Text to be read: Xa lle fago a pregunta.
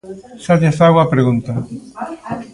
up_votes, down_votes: 1, 2